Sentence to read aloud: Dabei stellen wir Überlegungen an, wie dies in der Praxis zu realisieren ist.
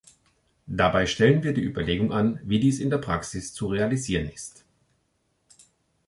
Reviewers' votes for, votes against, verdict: 0, 2, rejected